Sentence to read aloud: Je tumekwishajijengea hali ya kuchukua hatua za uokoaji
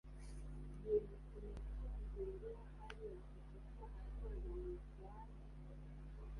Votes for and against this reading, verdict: 0, 2, rejected